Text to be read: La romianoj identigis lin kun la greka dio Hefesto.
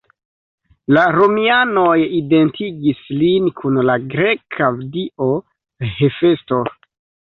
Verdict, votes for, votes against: rejected, 0, 2